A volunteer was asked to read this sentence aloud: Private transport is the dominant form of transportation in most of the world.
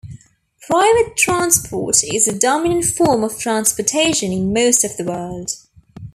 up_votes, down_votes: 2, 0